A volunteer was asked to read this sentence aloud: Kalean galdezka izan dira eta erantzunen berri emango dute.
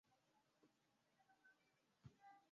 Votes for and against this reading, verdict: 0, 2, rejected